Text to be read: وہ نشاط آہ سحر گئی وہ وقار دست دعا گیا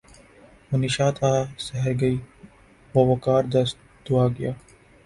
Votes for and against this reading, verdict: 2, 0, accepted